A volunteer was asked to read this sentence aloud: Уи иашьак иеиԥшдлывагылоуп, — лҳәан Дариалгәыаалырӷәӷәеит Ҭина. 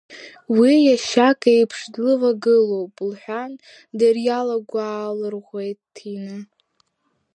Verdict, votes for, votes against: rejected, 0, 2